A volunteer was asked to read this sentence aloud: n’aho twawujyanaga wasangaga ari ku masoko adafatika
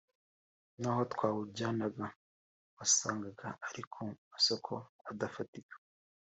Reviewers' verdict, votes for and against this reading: accepted, 2, 0